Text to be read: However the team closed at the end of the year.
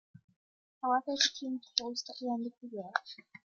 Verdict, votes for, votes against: rejected, 1, 2